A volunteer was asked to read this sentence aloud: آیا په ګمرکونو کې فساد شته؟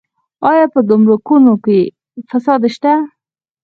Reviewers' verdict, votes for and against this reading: rejected, 0, 4